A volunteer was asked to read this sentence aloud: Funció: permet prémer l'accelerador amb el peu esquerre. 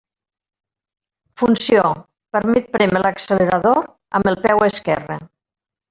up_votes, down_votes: 2, 0